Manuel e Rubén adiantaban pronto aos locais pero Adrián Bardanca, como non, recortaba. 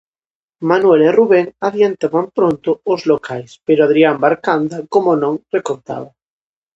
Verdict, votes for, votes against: rejected, 0, 2